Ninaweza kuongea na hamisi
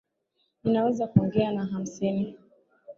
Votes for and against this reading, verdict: 14, 6, accepted